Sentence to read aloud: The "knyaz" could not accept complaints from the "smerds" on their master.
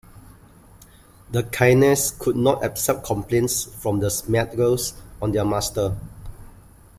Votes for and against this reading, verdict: 1, 2, rejected